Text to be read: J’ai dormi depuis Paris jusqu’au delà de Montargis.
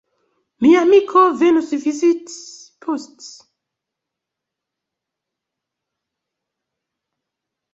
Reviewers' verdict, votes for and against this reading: rejected, 0, 2